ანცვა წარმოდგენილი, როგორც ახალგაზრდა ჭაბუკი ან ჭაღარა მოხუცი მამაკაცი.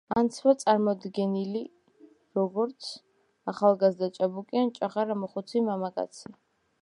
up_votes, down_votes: 0, 2